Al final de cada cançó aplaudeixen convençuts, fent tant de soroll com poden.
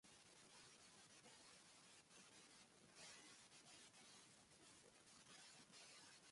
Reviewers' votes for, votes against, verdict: 0, 2, rejected